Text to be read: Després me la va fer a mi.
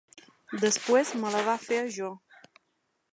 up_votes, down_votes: 2, 1